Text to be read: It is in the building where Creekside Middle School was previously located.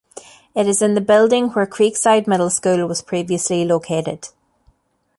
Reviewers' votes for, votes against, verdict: 2, 0, accepted